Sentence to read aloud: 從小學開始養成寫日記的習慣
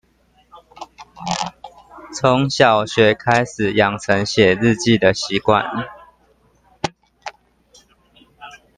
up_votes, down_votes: 0, 2